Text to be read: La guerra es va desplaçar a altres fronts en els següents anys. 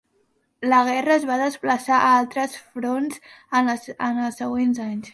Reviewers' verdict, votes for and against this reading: rejected, 1, 2